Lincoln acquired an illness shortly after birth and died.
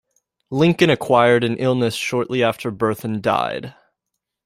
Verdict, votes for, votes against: accepted, 2, 0